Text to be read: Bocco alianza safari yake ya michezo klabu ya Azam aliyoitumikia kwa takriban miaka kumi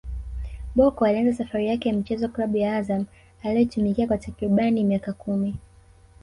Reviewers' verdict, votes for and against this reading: rejected, 1, 2